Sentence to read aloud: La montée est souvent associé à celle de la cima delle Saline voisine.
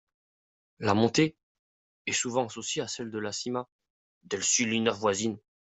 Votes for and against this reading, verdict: 1, 2, rejected